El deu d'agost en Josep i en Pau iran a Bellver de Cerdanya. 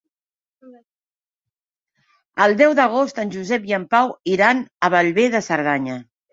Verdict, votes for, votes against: accepted, 3, 0